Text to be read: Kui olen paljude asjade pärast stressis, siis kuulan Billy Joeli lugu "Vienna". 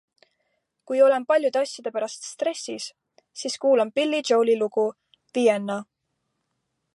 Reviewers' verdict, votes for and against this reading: accepted, 2, 0